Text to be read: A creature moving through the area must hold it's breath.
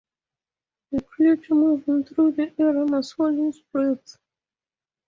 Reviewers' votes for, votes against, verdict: 0, 2, rejected